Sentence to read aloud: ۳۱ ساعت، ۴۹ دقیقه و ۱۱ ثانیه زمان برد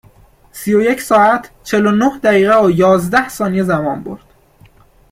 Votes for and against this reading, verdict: 0, 2, rejected